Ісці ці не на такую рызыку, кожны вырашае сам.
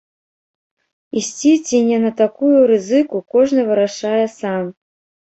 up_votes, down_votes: 0, 2